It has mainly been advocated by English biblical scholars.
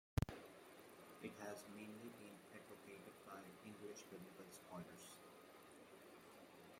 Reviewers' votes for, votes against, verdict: 0, 2, rejected